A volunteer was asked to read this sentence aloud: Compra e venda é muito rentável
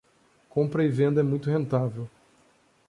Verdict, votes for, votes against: accepted, 2, 0